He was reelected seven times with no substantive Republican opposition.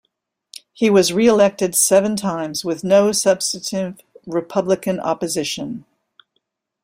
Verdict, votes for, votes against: rejected, 0, 2